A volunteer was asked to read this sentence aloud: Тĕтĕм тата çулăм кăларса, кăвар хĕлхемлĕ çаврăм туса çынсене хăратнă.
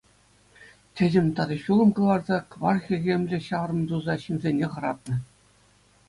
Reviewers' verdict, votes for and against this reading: accepted, 2, 0